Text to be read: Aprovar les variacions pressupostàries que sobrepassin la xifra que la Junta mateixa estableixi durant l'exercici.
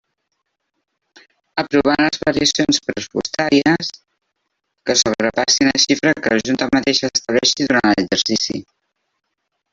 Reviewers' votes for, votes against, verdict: 0, 2, rejected